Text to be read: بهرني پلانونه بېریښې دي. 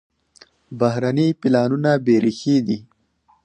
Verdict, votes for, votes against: rejected, 2, 4